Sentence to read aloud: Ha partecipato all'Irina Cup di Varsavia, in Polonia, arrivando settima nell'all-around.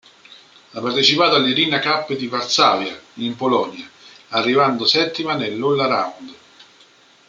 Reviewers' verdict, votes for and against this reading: rejected, 1, 2